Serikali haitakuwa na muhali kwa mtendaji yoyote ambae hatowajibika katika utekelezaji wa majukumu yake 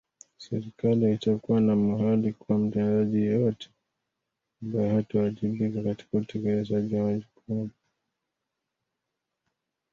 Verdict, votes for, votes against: rejected, 1, 2